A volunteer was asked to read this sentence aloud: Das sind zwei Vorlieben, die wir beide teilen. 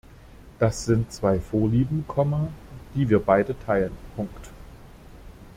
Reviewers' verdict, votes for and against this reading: rejected, 0, 2